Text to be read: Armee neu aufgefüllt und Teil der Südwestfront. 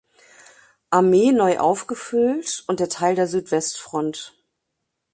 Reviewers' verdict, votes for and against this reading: rejected, 0, 2